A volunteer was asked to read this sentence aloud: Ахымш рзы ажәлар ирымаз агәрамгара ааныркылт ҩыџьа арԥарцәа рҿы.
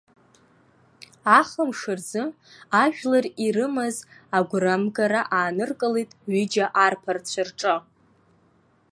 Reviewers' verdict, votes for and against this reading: accepted, 2, 0